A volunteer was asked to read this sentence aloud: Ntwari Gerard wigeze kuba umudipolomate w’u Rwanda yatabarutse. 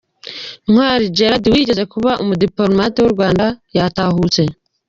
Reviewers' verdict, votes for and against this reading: rejected, 1, 2